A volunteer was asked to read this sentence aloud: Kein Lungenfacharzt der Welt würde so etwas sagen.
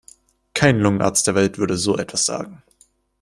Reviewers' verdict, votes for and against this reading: rejected, 0, 2